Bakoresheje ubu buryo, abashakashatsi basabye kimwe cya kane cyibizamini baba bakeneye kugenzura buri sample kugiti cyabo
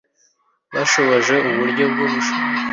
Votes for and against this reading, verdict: 0, 2, rejected